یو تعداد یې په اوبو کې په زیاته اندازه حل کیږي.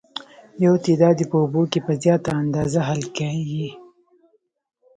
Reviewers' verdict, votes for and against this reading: rejected, 0, 2